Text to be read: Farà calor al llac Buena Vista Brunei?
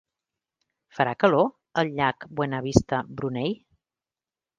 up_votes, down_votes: 2, 0